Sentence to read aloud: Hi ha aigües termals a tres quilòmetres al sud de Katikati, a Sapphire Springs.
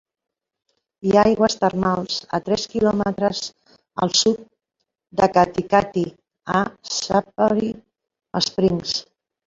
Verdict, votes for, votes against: accepted, 2, 1